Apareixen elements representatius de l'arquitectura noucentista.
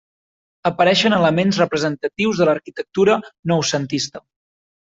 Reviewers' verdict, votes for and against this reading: accepted, 3, 0